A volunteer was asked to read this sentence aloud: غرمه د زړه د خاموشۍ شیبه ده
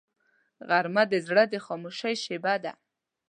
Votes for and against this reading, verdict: 2, 0, accepted